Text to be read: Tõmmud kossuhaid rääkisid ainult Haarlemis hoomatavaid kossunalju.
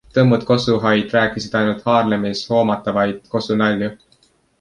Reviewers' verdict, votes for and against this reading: accepted, 2, 0